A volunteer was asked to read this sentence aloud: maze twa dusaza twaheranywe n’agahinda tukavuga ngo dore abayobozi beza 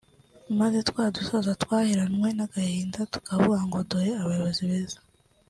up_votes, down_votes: 2, 1